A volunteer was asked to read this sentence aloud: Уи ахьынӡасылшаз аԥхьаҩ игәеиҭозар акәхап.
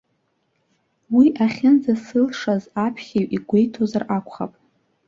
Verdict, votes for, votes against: accepted, 2, 0